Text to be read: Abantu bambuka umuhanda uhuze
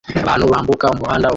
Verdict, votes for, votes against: rejected, 0, 2